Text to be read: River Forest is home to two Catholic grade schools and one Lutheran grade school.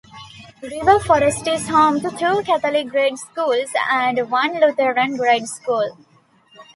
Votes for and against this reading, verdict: 2, 0, accepted